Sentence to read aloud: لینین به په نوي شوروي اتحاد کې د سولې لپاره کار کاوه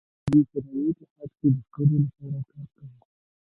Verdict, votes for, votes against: rejected, 0, 2